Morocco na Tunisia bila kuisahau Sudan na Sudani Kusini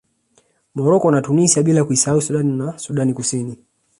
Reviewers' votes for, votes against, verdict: 2, 0, accepted